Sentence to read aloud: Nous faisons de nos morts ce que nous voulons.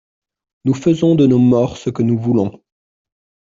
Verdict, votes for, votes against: accepted, 2, 0